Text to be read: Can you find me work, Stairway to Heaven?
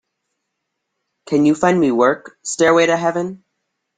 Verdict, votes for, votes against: accepted, 3, 0